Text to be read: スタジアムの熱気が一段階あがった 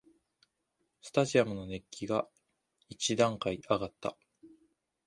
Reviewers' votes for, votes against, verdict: 2, 0, accepted